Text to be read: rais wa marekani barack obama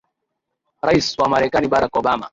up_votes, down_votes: 2, 0